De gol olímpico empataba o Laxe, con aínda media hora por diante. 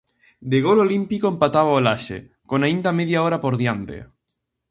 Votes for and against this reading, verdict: 2, 0, accepted